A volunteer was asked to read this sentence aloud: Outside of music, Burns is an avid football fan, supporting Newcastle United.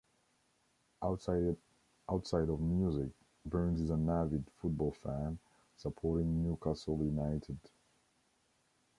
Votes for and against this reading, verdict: 1, 2, rejected